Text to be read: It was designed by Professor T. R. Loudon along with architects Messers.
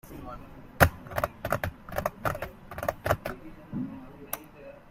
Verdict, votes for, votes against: rejected, 0, 2